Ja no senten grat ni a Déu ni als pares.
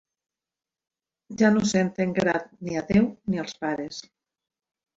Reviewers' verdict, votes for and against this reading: accepted, 3, 0